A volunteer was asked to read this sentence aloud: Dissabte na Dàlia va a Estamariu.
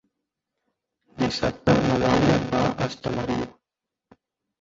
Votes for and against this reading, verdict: 0, 3, rejected